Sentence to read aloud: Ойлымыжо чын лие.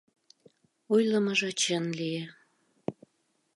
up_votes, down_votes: 2, 0